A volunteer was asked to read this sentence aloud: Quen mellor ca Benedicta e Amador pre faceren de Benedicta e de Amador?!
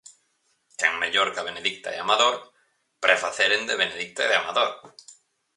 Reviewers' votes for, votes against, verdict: 4, 0, accepted